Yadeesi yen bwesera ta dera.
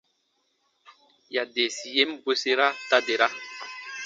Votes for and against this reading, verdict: 2, 0, accepted